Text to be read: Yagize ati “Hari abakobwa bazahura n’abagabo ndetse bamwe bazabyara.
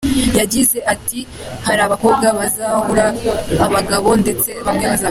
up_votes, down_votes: 2, 1